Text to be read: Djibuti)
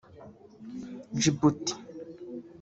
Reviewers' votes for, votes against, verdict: 1, 2, rejected